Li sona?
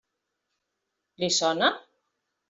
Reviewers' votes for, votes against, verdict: 3, 0, accepted